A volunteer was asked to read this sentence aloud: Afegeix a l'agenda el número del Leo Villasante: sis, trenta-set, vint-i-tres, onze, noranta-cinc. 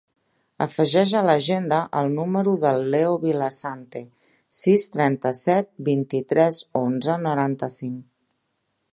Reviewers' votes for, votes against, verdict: 0, 2, rejected